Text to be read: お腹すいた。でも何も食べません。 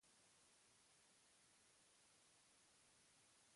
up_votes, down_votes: 0, 2